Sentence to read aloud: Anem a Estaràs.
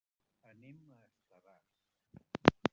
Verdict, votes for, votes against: rejected, 0, 2